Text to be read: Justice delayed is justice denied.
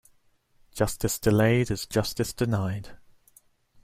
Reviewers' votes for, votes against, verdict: 2, 0, accepted